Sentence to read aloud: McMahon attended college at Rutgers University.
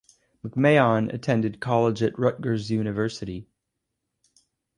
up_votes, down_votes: 4, 0